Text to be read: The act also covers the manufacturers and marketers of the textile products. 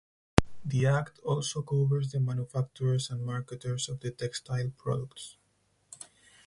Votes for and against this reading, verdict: 4, 0, accepted